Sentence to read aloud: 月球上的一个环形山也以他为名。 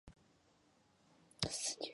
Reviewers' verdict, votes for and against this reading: rejected, 3, 8